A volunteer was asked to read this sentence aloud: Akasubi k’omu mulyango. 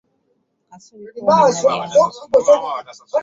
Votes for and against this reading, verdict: 1, 2, rejected